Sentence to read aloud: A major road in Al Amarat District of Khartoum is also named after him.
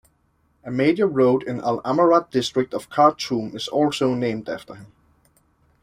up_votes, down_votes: 3, 0